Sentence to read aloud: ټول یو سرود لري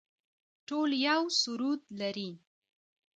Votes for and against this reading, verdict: 3, 0, accepted